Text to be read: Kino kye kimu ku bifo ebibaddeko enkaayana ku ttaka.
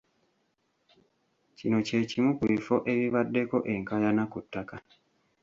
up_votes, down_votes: 2, 1